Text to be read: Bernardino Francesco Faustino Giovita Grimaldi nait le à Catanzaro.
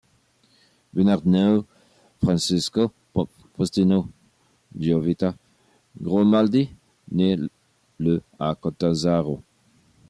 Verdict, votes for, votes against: rejected, 0, 2